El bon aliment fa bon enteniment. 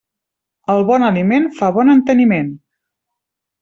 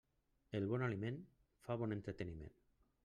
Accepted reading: first